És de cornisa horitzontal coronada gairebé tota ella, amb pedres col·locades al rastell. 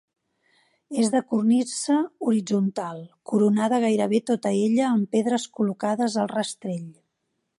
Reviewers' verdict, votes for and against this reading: accepted, 2, 0